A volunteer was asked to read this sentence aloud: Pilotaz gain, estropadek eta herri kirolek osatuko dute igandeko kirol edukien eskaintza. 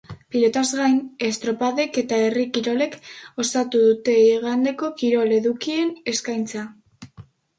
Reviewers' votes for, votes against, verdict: 0, 2, rejected